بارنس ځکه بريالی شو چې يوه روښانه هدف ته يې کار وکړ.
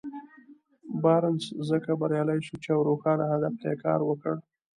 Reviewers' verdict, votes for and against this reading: accepted, 2, 0